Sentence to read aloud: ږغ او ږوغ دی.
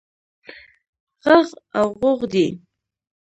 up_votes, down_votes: 1, 2